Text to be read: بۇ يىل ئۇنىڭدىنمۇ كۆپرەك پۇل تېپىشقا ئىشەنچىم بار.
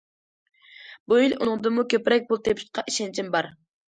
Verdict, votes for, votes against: accepted, 2, 0